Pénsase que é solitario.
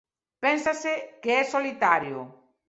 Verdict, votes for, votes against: rejected, 0, 2